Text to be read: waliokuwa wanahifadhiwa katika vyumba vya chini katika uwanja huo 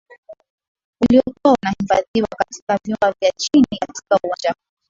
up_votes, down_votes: 2, 1